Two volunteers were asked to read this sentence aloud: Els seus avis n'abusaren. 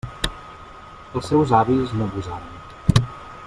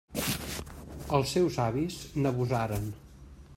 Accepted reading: second